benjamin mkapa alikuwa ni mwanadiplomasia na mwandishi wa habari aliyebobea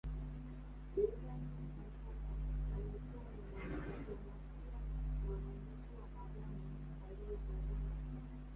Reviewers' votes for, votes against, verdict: 2, 1, accepted